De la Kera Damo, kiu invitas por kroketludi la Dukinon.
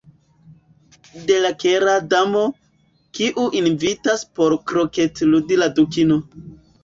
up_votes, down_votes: 0, 2